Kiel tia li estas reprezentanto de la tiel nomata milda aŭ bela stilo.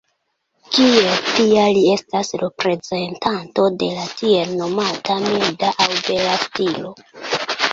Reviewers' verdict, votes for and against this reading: rejected, 0, 2